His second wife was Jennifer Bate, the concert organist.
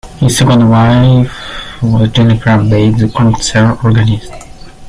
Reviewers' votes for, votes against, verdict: 1, 2, rejected